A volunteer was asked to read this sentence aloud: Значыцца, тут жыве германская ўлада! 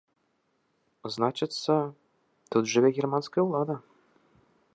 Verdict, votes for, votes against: accepted, 2, 0